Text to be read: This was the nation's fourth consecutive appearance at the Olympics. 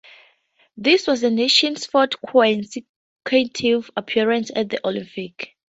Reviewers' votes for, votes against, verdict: 0, 2, rejected